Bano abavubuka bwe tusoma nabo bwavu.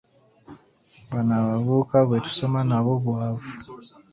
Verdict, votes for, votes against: accepted, 2, 1